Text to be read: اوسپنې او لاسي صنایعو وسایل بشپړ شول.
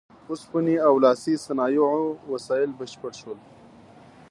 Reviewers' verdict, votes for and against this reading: accepted, 2, 0